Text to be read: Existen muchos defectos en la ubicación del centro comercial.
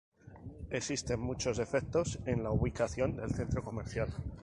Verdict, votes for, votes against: accepted, 2, 0